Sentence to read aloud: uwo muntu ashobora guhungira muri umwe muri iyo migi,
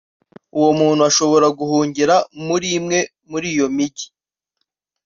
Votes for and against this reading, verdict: 1, 2, rejected